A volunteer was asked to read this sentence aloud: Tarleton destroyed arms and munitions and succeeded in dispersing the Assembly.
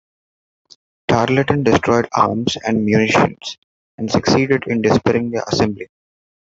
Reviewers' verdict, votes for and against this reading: rejected, 0, 2